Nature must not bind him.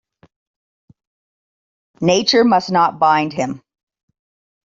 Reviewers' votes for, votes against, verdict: 2, 0, accepted